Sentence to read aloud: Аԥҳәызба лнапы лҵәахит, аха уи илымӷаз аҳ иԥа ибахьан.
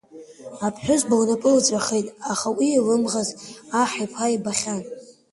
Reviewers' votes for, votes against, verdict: 1, 2, rejected